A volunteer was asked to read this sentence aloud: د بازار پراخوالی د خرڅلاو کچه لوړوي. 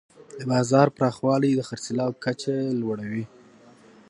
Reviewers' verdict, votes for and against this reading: accepted, 2, 0